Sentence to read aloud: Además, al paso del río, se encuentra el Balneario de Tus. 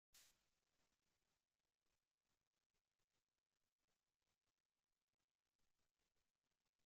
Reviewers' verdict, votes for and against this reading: rejected, 0, 2